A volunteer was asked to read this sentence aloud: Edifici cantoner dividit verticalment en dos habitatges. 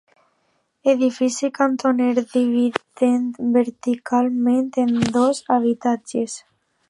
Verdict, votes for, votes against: rejected, 1, 2